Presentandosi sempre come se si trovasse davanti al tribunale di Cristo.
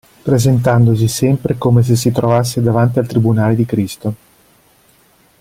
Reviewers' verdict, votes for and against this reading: accepted, 2, 0